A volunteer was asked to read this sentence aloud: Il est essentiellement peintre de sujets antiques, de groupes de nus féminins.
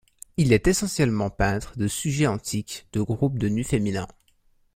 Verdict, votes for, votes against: accepted, 2, 0